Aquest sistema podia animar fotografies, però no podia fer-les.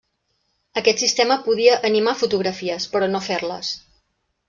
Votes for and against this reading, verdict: 0, 2, rejected